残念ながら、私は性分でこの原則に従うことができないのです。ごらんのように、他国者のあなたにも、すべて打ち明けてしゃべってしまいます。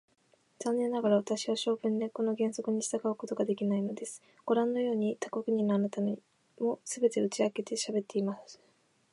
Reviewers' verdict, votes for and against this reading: accepted, 2, 0